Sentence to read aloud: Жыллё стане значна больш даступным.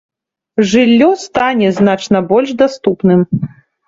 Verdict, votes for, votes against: accepted, 3, 0